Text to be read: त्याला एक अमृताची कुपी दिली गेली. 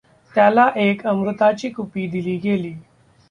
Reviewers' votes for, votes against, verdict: 2, 0, accepted